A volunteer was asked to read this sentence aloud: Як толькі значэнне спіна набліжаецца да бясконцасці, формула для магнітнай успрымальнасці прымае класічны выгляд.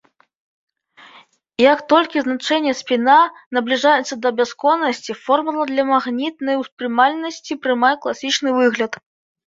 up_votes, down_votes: 0, 2